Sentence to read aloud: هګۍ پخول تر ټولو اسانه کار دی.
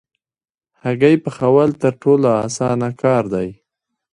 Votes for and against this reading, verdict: 1, 2, rejected